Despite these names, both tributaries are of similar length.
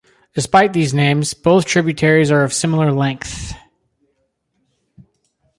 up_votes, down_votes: 0, 2